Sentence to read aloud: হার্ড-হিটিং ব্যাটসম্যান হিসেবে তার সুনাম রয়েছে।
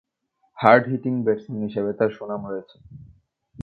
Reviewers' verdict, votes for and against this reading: accepted, 3, 1